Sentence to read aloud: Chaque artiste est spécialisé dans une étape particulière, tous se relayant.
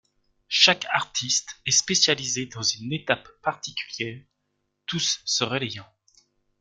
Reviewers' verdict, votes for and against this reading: rejected, 1, 2